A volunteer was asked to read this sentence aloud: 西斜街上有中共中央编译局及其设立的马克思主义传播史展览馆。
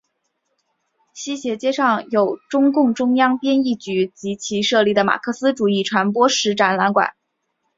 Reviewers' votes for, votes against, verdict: 2, 0, accepted